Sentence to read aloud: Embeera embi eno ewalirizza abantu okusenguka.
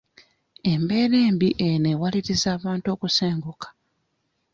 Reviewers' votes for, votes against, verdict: 0, 2, rejected